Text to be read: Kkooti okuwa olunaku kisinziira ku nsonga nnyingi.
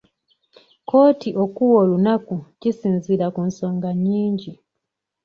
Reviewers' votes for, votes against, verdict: 2, 0, accepted